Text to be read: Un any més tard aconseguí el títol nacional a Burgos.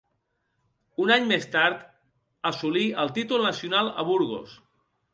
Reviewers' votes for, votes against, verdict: 1, 2, rejected